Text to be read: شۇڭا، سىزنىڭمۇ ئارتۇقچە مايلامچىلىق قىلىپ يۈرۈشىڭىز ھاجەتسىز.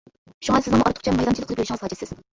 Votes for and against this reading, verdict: 0, 2, rejected